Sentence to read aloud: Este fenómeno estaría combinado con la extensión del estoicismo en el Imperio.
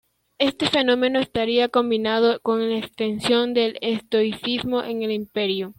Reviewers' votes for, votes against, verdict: 2, 0, accepted